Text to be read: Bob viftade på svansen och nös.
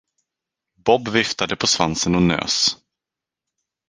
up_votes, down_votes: 2, 2